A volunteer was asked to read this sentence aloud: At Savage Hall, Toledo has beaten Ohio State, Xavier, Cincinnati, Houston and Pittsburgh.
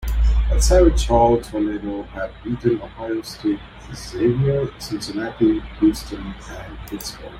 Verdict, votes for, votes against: accepted, 2, 1